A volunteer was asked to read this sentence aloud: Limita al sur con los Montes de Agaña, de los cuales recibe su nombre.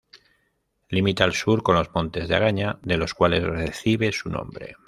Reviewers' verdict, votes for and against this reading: accepted, 2, 0